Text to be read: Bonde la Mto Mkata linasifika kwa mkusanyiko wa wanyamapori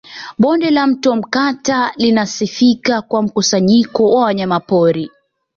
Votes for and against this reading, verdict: 2, 0, accepted